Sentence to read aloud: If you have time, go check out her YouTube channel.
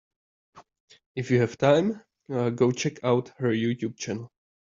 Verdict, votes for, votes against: rejected, 1, 2